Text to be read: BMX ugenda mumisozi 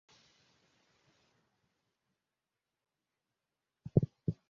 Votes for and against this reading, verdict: 0, 2, rejected